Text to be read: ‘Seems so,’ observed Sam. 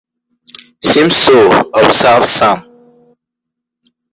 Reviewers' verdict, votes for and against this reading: accepted, 2, 0